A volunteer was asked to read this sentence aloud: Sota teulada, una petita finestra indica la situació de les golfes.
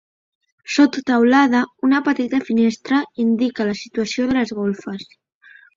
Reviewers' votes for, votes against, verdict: 3, 0, accepted